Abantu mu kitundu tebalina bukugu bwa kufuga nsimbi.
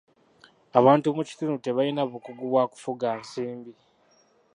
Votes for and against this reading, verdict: 0, 2, rejected